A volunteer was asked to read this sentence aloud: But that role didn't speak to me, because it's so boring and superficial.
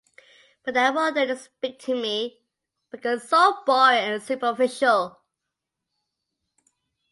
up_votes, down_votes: 3, 2